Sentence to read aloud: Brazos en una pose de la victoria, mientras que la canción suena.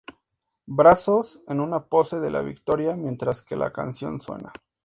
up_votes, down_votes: 2, 0